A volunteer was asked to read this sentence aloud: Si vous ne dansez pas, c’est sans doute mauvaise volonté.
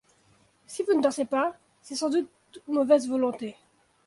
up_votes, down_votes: 2, 0